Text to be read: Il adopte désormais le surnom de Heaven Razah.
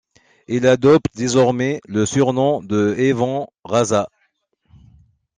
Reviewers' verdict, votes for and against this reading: rejected, 1, 2